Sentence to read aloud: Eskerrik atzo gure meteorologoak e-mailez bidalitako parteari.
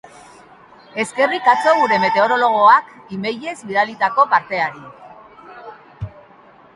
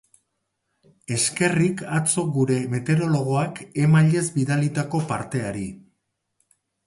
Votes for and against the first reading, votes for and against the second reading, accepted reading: 1, 2, 4, 0, second